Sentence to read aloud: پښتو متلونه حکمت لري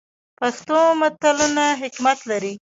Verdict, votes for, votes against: rejected, 0, 2